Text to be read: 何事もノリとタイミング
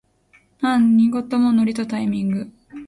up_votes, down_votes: 1, 2